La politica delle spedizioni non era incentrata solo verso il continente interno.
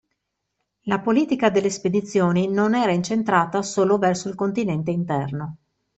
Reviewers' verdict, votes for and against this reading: accepted, 2, 0